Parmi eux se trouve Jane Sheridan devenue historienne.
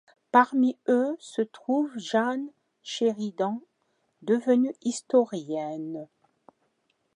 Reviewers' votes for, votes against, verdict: 1, 2, rejected